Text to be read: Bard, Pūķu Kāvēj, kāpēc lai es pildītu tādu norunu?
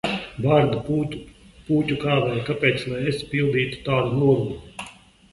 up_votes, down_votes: 0, 2